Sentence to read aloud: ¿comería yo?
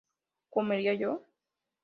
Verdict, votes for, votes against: accepted, 2, 0